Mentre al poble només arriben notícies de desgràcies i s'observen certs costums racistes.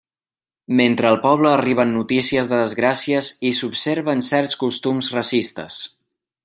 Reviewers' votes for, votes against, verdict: 0, 2, rejected